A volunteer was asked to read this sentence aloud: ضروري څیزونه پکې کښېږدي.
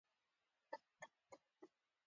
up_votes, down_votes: 2, 1